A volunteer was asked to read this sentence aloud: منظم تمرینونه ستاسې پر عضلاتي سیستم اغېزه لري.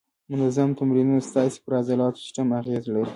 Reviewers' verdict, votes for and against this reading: accepted, 2, 1